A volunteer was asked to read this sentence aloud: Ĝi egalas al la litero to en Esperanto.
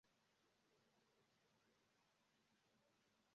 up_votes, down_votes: 0, 2